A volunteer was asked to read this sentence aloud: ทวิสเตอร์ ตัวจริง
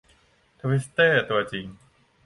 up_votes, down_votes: 2, 0